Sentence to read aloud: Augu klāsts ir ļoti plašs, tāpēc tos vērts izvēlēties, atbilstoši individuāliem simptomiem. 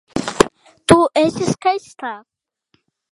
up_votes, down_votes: 0, 2